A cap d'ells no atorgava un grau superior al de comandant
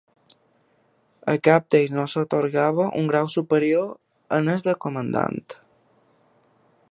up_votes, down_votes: 1, 2